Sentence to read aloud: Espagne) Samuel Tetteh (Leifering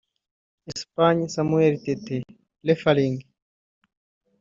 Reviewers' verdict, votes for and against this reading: rejected, 0, 2